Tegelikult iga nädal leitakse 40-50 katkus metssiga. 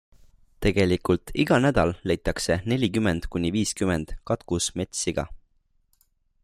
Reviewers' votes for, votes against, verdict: 0, 2, rejected